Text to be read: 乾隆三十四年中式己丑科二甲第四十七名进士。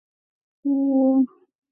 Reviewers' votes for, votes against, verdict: 0, 2, rejected